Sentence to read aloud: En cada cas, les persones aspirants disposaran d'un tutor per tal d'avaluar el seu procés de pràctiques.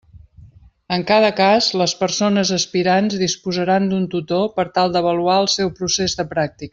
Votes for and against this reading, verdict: 1, 2, rejected